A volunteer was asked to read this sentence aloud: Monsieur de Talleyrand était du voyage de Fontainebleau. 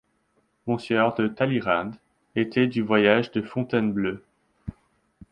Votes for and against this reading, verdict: 1, 2, rejected